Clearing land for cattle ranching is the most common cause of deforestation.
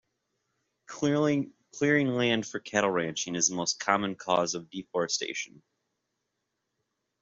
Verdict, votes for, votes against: rejected, 0, 2